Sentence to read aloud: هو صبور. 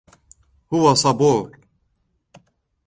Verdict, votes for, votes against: accepted, 2, 0